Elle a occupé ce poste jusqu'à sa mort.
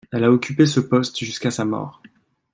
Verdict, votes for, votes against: accepted, 2, 0